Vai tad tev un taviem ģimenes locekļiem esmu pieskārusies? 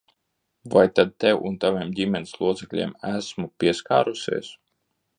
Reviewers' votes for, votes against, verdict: 2, 0, accepted